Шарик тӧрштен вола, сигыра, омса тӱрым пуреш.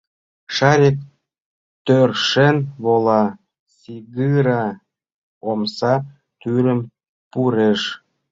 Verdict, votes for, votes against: rejected, 1, 3